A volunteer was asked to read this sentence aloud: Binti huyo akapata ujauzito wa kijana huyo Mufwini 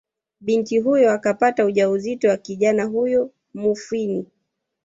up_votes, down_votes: 0, 2